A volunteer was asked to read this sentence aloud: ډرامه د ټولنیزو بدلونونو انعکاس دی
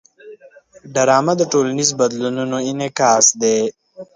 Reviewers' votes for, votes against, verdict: 2, 0, accepted